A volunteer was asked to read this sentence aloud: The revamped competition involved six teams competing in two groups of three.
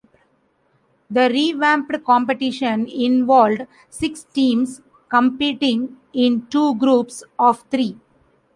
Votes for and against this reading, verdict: 2, 1, accepted